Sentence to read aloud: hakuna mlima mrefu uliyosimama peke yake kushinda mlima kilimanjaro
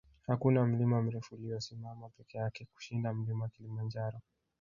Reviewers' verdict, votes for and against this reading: rejected, 1, 2